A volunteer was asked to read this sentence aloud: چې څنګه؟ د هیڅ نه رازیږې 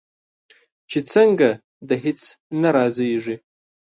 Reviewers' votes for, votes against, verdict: 2, 0, accepted